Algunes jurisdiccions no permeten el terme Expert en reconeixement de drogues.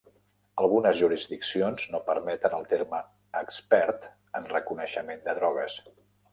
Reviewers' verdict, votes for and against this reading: accepted, 3, 0